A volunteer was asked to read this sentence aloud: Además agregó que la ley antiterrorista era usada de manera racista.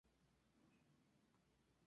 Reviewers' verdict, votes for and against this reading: rejected, 0, 4